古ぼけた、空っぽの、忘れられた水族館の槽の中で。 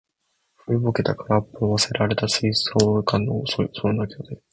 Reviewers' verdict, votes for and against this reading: rejected, 0, 2